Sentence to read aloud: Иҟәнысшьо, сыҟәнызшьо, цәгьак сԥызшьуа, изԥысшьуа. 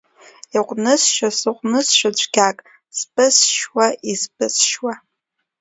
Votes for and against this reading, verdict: 2, 0, accepted